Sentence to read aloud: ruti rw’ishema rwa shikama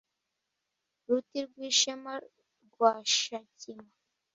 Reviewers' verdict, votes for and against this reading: rejected, 0, 2